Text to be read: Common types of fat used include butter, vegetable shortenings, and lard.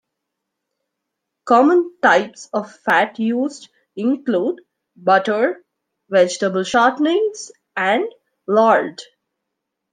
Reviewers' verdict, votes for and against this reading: accepted, 2, 0